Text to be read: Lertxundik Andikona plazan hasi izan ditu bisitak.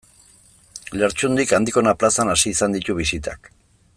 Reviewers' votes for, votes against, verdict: 2, 0, accepted